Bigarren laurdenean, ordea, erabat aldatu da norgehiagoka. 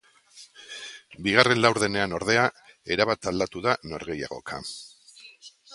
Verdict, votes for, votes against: accepted, 2, 0